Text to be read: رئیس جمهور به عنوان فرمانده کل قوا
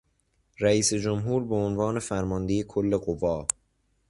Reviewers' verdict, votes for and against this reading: accepted, 2, 0